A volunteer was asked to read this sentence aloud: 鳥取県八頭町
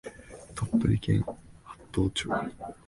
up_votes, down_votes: 2, 3